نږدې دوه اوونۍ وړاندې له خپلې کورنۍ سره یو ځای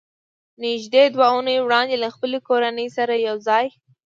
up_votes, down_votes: 2, 0